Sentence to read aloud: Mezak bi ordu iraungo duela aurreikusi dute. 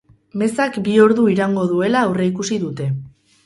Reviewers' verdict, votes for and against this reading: rejected, 0, 2